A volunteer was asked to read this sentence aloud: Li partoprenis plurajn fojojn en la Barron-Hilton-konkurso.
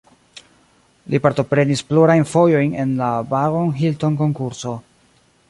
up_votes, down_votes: 2, 0